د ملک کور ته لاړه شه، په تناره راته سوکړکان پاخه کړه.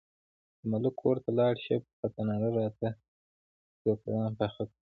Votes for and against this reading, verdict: 0, 2, rejected